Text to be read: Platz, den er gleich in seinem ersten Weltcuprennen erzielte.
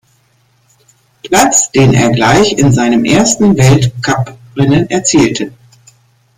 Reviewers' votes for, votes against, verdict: 2, 0, accepted